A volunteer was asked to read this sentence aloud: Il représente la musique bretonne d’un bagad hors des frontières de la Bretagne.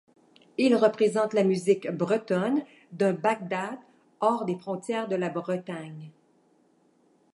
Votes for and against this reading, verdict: 0, 2, rejected